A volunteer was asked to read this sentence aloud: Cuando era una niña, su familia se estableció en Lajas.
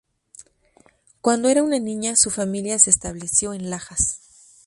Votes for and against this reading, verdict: 2, 0, accepted